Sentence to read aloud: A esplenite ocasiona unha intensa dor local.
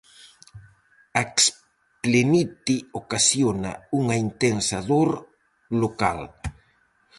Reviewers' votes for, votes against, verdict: 0, 4, rejected